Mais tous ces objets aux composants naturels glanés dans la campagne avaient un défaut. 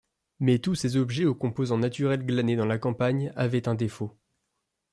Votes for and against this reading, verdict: 2, 0, accepted